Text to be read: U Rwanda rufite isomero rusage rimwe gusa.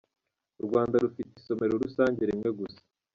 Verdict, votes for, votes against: accepted, 2, 0